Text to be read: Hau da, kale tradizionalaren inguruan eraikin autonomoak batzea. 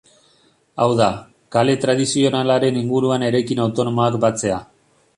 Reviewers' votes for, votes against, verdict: 3, 0, accepted